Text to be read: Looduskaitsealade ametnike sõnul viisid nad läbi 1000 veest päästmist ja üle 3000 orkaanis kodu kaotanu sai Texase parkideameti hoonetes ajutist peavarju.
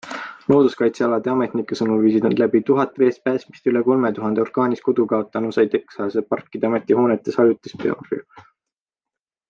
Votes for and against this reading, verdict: 0, 2, rejected